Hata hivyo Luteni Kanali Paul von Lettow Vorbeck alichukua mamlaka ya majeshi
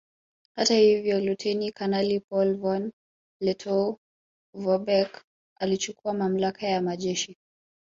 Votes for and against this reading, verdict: 1, 2, rejected